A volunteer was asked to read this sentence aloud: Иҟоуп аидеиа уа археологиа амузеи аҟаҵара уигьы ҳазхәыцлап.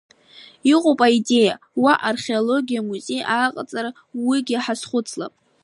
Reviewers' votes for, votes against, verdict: 2, 0, accepted